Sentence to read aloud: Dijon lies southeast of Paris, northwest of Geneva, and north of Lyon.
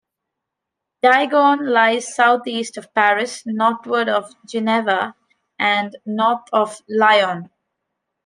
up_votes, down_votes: 0, 2